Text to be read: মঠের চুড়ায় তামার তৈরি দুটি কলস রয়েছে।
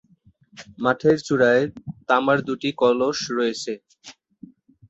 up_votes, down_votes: 0, 2